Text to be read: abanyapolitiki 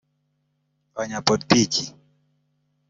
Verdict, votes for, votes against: accepted, 2, 1